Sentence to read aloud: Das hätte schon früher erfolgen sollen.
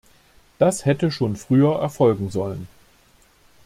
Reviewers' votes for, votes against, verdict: 2, 0, accepted